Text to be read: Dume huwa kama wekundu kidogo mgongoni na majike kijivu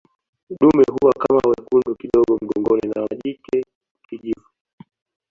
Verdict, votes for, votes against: accepted, 2, 0